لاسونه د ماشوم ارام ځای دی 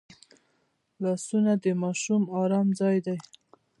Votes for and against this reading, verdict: 0, 2, rejected